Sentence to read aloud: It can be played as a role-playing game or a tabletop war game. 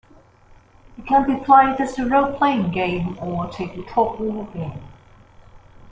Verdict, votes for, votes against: accepted, 3, 0